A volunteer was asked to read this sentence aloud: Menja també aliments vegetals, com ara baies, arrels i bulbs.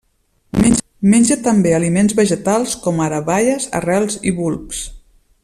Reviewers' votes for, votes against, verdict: 0, 2, rejected